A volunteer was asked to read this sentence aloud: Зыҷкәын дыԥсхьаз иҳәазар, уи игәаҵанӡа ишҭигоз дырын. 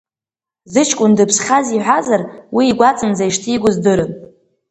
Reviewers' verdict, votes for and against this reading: accepted, 2, 0